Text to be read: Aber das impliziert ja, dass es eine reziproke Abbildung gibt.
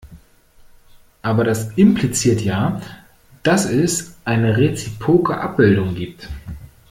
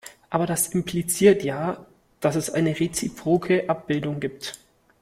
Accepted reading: second